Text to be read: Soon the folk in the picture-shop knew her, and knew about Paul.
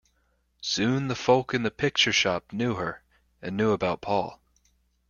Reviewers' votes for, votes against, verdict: 2, 0, accepted